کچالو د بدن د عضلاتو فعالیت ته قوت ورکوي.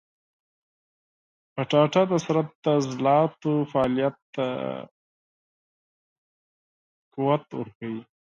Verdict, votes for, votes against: rejected, 0, 4